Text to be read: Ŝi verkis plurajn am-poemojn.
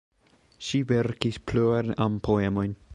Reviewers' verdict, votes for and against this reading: rejected, 0, 3